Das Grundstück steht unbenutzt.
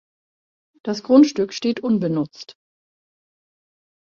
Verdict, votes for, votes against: accepted, 2, 0